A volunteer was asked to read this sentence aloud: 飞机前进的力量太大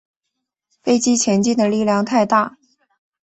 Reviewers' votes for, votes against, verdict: 3, 0, accepted